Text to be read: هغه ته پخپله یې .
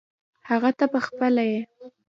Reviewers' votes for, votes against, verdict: 1, 2, rejected